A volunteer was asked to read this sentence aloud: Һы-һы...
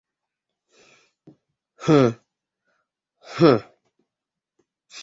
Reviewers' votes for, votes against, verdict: 2, 0, accepted